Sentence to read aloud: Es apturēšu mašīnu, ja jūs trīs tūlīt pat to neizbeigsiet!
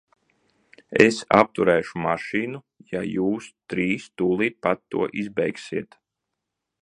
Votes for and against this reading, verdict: 0, 2, rejected